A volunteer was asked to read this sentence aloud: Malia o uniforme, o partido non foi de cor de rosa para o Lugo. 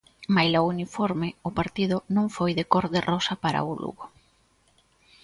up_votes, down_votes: 0, 2